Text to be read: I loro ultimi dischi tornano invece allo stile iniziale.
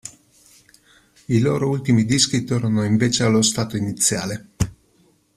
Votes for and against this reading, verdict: 0, 2, rejected